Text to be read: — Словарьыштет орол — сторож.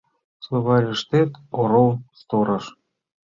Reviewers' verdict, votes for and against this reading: accepted, 2, 0